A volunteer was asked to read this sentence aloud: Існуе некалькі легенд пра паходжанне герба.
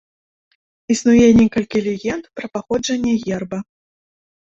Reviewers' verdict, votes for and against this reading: accepted, 2, 0